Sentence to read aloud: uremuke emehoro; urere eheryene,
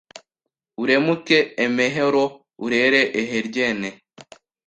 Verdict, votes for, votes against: rejected, 1, 2